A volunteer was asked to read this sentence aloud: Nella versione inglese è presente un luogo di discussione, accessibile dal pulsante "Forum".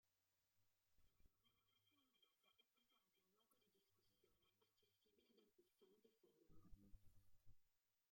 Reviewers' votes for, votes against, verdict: 0, 2, rejected